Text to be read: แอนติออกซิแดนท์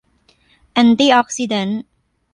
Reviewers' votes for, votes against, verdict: 2, 0, accepted